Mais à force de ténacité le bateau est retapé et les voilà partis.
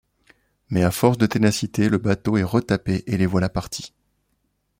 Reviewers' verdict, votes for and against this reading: accepted, 2, 0